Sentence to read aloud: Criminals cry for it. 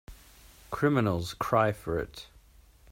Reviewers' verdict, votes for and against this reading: accepted, 2, 0